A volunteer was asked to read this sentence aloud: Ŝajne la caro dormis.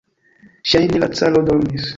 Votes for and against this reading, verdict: 0, 2, rejected